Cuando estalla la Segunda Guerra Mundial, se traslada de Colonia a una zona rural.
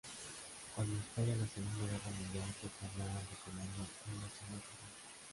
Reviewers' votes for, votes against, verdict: 0, 3, rejected